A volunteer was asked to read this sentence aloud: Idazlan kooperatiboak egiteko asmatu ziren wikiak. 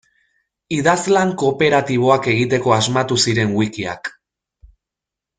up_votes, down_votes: 2, 0